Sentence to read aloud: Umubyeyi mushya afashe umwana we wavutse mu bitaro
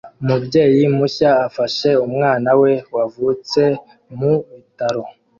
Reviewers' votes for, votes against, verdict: 1, 2, rejected